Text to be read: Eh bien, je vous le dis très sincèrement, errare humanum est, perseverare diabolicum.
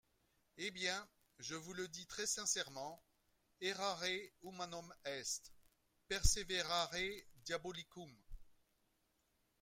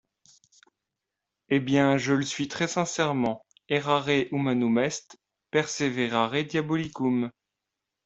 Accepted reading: first